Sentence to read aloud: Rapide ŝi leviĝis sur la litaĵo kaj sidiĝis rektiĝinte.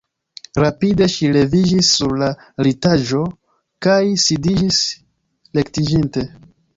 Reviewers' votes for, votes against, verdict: 2, 1, accepted